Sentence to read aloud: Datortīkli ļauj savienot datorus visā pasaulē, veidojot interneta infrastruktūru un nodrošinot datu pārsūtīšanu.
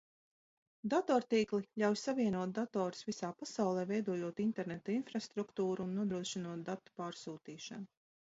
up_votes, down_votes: 2, 0